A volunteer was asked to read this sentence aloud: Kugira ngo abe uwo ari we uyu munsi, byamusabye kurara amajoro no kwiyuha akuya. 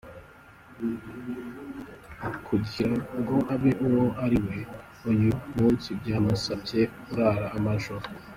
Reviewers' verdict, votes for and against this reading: rejected, 0, 3